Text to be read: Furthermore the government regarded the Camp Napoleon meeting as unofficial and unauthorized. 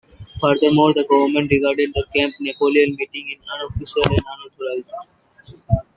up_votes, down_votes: 0, 2